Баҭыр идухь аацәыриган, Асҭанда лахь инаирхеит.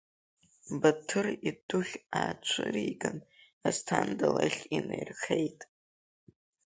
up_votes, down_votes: 2, 0